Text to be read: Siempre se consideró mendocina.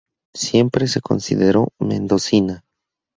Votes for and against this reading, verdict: 4, 0, accepted